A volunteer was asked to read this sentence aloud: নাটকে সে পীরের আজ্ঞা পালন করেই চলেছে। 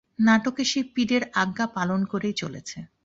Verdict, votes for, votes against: accepted, 2, 0